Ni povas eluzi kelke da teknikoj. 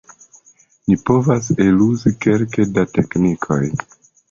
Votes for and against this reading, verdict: 2, 0, accepted